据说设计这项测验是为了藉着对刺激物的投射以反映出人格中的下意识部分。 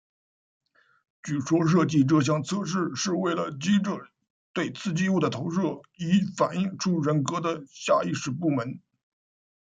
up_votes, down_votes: 0, 2